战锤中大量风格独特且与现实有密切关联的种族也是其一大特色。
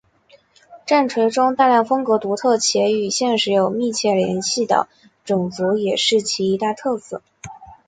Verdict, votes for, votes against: rejected, 1, 2